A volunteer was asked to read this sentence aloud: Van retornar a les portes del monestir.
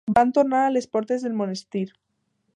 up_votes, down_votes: 0, 2